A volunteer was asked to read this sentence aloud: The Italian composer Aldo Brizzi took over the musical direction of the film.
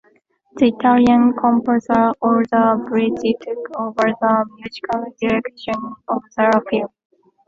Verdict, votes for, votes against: rejected, 1, 2